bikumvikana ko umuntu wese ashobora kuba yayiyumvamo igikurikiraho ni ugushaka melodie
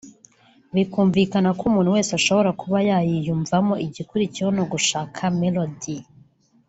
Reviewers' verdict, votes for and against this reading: rejected, 1, 2